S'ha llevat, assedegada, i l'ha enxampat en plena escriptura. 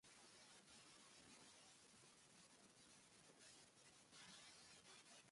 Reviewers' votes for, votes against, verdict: 1, 2, rejected